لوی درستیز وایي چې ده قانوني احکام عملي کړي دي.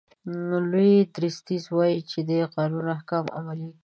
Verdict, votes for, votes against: rejected, 0, 2